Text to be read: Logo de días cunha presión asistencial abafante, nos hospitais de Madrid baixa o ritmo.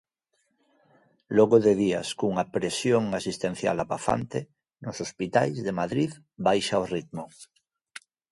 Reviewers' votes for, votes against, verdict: 2, 0, accepted